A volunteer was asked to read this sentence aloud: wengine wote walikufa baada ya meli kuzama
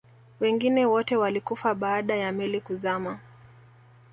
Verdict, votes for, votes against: accepted, 2, 0